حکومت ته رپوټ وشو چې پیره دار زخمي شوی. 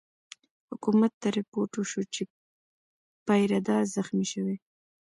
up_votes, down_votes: 1, 2